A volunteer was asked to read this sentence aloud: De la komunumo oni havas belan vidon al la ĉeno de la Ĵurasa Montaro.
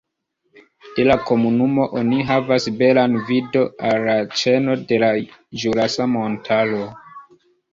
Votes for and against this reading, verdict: 2, 0, accepted